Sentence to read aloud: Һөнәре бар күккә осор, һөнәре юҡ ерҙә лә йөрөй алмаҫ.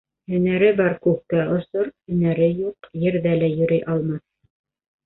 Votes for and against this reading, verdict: 1, 2, rejected